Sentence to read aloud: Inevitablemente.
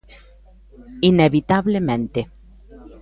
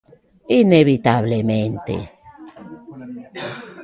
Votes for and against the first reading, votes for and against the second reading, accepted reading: 2, 0, 1, 2, first